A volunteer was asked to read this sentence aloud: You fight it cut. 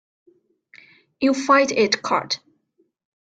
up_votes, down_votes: 3, 0